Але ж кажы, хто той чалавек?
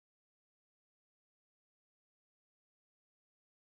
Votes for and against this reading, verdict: 0, 3, rejected